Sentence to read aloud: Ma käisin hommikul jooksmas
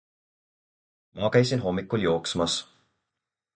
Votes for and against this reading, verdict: 4, 0, accepted